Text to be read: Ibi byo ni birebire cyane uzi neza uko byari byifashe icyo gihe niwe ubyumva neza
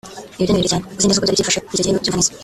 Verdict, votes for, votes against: rejected, 1, 2